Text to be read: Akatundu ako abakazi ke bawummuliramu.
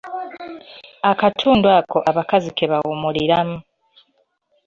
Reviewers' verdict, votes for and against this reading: accepted, 2, 1